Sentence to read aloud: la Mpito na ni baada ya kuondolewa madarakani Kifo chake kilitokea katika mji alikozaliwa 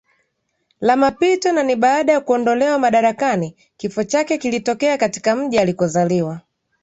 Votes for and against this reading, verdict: 2, 3, rejected